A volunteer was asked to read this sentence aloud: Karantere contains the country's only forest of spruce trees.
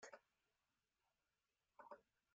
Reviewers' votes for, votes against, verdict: 0, 2, rejected